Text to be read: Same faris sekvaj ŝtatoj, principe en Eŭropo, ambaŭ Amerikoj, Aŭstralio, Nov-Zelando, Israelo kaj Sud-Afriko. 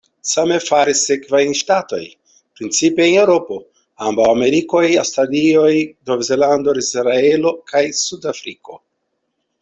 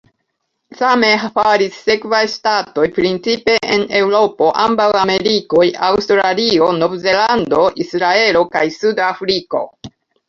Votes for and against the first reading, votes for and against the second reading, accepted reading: 2, 0, 0, 2, first